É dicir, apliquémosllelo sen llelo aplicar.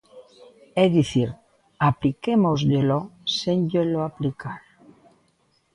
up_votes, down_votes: 2, 0